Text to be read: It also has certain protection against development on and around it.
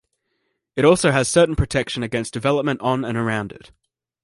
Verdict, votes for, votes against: accepted, 2, 0